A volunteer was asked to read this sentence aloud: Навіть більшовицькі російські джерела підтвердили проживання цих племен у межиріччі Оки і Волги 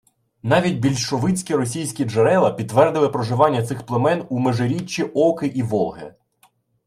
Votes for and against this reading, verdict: 2, 1, accepted